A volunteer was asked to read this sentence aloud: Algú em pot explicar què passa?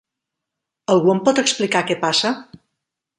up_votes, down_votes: 11, 0